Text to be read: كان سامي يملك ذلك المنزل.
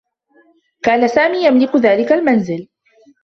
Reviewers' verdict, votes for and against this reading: accepted, 2, 1